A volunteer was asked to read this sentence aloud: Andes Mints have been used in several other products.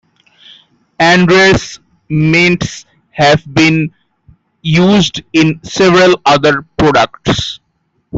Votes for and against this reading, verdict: 1, 2, rejected